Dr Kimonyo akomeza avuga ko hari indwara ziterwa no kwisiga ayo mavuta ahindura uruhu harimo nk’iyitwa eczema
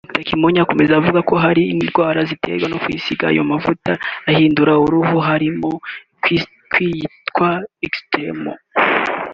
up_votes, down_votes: 2, 1